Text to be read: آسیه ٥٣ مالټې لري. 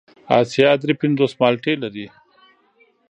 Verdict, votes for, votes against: rejected, 0, 2